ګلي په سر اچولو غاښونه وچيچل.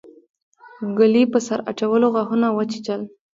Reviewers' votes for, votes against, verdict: 1, 2, rejected